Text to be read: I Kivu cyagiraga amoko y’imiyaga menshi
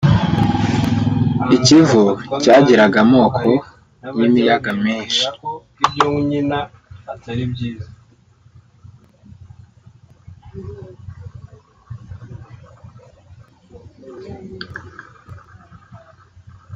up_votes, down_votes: 0, 2